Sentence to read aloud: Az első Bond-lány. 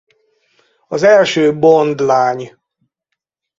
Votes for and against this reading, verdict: 4, 2, accepted